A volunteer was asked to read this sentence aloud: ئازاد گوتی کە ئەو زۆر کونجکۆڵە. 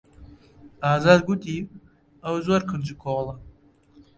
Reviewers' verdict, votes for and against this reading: rejected, 1, 2